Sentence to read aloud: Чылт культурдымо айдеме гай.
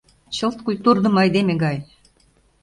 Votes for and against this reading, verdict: 2, 0, accepted